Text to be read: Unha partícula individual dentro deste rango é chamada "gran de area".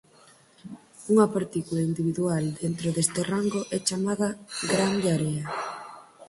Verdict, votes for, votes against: accepted, 4, 0